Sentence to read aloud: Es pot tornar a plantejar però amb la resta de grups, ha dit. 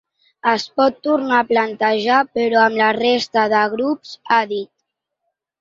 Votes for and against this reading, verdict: 3, 0, accepted